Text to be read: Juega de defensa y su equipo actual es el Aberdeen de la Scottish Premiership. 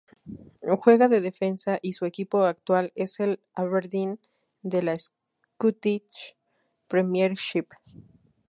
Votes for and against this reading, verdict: 2, 0, accepted